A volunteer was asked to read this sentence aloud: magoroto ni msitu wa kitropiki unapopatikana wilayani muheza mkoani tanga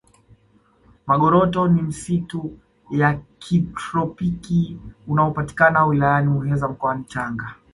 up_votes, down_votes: 1, 2